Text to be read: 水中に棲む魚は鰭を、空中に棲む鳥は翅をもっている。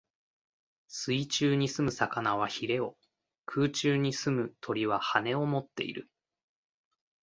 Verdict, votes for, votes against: accepted, 2, 0